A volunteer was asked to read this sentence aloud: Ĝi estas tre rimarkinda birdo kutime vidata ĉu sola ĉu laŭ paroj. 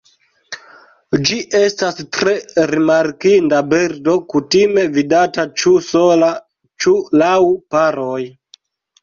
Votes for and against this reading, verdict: 2, 1, accepted